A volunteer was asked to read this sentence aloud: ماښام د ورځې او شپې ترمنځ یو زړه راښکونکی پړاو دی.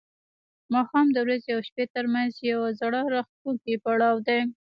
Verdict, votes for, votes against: rejected, 0, 2